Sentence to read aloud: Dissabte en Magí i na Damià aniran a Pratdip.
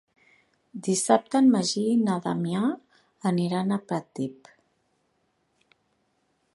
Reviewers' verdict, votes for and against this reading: accepted, 2, 0